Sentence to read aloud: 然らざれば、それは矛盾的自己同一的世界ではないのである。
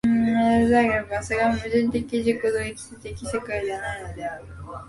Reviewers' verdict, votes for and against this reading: rejected, 0, 2